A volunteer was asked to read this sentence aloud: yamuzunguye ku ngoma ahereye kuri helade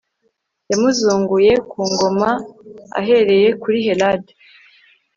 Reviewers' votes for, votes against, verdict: 1, 2, rejected